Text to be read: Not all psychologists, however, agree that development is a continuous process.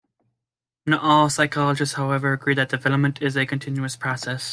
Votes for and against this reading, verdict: 2, 0, accepted